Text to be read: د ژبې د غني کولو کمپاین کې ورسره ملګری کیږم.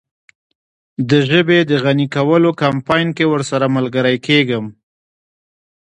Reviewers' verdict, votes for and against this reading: rejected, 1, 2